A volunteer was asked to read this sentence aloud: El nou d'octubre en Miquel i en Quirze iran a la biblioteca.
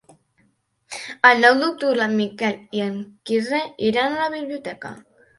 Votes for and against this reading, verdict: 2, 0, accepted